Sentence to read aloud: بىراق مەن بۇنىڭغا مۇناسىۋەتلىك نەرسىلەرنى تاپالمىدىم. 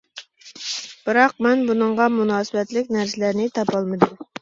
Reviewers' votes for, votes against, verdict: 2, 0, accepted